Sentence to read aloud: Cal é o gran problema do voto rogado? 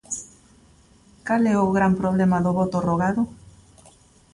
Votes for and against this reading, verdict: 2, 0, accepted